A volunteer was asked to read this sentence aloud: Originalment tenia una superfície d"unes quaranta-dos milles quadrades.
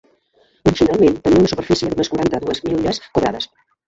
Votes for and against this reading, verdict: 0, 2, rejected